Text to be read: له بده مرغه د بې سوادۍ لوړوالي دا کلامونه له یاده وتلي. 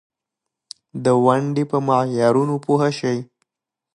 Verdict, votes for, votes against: rejected, 1, 3